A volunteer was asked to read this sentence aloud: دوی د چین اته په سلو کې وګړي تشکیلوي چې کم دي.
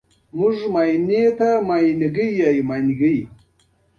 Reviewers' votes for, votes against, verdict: 1, 2, rejected